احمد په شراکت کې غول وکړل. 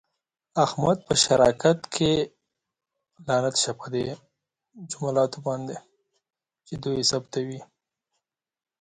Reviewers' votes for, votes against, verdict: 1, 2, rejected